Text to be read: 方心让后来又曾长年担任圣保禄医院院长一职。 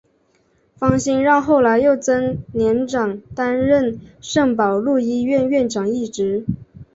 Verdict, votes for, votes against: accepted, 3, 0